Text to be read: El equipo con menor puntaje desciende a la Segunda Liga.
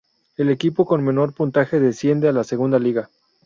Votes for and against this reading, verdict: 0, 2, rejected